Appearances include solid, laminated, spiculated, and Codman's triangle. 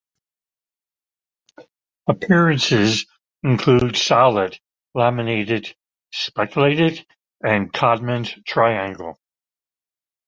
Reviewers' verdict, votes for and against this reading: rejected, 1, 2